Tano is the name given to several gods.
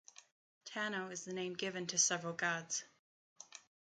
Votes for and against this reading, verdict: 2, 0, accepted